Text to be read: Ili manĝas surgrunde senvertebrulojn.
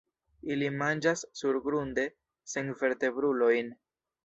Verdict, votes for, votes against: accepted, 2, 0